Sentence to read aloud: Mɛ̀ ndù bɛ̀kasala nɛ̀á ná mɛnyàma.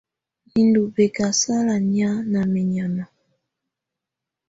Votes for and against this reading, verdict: 2, 0, accepted